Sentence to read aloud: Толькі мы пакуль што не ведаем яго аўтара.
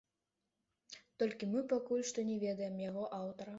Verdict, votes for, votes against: accepted, 2, 0